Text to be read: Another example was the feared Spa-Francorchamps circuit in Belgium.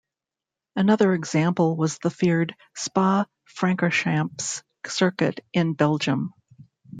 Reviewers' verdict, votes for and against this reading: rejected, 0, 2